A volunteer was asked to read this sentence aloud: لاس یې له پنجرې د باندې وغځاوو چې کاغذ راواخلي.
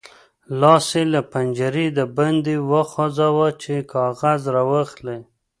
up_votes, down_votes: 2, 0